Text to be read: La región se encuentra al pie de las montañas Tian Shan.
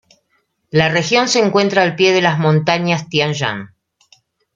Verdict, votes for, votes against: accepted, 2, 0